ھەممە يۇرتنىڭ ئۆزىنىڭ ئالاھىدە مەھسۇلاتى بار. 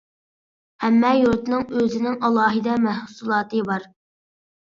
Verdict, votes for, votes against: accepted, 4, 0